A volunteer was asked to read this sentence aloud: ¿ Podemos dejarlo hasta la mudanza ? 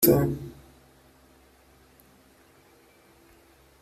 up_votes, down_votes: 0, 3